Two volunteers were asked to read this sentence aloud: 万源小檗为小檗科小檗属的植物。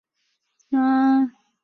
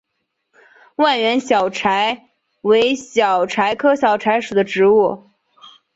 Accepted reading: second